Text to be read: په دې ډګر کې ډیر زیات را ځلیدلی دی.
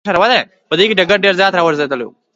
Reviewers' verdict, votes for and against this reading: rejected, 1, 2